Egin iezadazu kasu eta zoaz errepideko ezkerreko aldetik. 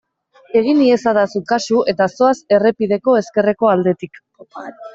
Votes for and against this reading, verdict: 2, 0, accepted